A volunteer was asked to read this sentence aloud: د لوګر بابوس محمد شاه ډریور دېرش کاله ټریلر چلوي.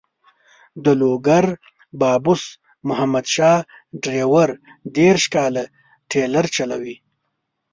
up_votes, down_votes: 2, 0